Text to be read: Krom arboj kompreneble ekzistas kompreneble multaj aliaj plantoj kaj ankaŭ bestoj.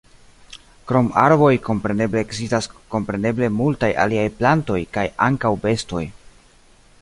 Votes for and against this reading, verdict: 2, 0, accepted